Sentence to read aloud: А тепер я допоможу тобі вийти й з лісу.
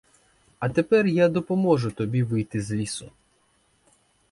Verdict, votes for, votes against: rejected, 2, 4